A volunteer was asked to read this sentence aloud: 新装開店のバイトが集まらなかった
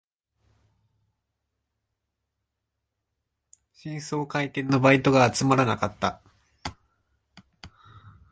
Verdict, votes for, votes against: rejected, 1, 2